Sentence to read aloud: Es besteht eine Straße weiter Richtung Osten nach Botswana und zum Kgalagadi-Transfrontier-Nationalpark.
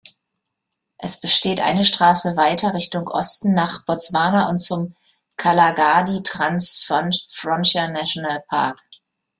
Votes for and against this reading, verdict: 0, 2, rejected